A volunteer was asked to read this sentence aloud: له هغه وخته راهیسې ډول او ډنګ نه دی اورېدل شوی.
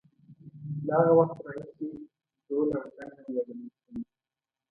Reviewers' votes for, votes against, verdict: 1, 2, rejected